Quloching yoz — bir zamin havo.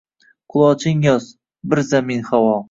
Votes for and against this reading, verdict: 2, 1, accepted